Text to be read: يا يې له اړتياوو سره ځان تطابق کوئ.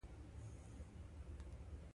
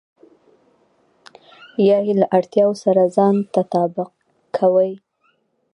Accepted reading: second